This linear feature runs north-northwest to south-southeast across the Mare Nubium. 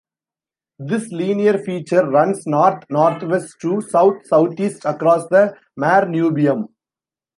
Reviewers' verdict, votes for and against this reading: rejected, 0, 2